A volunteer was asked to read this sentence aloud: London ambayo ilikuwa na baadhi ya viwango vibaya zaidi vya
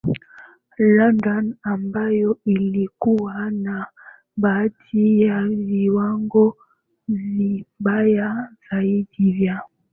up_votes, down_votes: 3, 2